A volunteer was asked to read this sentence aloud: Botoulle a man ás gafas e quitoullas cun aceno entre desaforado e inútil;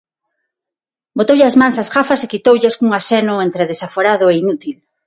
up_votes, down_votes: 0, 6